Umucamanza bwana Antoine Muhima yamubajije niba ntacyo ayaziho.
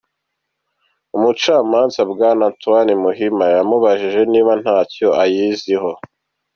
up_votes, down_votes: 2, 0